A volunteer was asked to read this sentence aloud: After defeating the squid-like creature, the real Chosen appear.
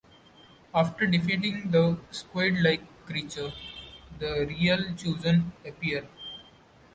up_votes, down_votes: 2, 0